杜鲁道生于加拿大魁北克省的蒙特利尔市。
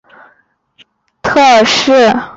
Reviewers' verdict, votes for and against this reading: accepted, 2, 0